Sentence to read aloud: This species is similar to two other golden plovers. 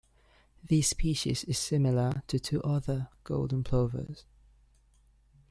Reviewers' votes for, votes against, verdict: 1, 2, rejected